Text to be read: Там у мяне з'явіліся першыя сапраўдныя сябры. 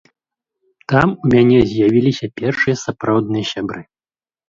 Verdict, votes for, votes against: accepted, 2, 0